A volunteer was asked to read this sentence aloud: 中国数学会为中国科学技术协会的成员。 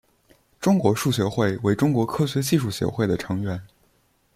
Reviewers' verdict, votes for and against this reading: accepted, 2, 0